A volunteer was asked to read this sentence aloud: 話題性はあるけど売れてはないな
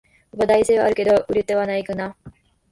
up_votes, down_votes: 0, 2